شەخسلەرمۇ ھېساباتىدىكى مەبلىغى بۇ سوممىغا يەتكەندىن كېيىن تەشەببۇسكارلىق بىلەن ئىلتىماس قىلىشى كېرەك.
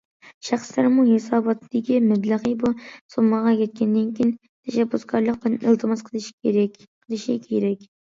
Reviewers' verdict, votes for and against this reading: rejected, 0, 2